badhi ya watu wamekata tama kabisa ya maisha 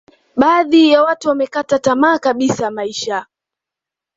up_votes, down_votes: 2, 0